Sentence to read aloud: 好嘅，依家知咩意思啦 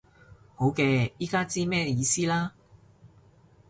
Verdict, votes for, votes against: accepted, 2, 0